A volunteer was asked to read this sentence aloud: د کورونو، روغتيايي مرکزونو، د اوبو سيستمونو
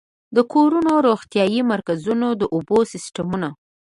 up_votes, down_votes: 2, 1